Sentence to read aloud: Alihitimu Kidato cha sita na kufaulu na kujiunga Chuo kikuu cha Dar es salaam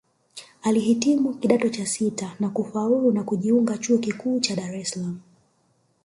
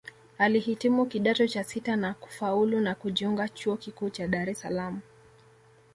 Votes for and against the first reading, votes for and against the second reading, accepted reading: 1, 2, 2, 0, second